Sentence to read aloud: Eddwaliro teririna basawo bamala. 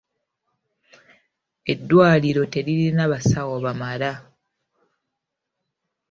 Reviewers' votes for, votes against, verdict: 1, 2, rejected